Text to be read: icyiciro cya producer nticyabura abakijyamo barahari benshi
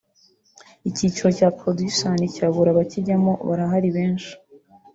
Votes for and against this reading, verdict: 0, 2, rejected